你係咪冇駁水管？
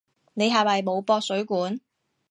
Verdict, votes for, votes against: accepted, 2, 0